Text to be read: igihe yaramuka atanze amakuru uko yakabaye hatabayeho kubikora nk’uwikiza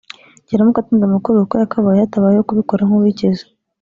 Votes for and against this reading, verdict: 1, 2, rejected